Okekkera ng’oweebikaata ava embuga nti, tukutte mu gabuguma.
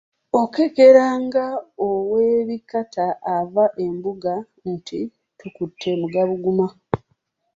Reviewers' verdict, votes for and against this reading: rejected, 0, 2